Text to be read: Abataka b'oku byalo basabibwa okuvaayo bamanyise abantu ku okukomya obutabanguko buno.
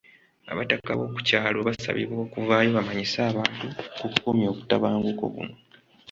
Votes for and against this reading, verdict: 2, 0, accepted